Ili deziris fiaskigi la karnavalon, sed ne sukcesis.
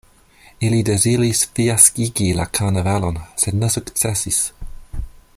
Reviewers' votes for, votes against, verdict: 2, 0, accepted